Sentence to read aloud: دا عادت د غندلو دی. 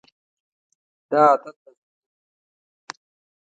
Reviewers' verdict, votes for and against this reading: rejected, 0, 2